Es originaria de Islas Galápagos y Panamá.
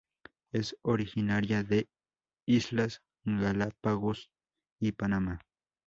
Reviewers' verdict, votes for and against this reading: accepted, 2, 0